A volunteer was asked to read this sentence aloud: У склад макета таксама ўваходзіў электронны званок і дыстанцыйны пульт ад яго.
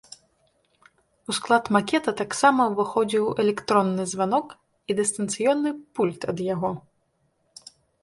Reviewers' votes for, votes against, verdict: 0, 4, rejected